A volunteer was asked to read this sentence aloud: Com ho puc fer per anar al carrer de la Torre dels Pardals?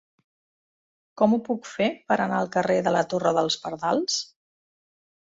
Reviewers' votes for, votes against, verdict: 3, 0, accepted